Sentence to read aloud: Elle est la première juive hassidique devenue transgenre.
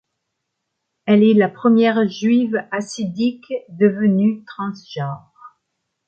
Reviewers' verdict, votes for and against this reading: accepted, 2, 0